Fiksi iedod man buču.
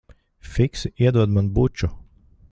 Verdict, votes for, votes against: accepted, 2, 0